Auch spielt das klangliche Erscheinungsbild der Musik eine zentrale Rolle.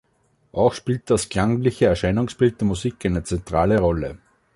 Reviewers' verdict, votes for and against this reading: accepted, 3, 0